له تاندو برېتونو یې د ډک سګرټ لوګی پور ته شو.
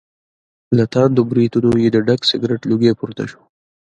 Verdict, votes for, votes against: accepted, 2, 0